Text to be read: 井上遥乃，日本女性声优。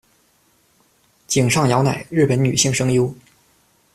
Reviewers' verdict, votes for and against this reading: accepted, 2, 0